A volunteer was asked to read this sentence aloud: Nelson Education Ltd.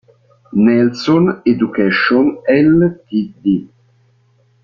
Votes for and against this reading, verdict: 3, 0, accepted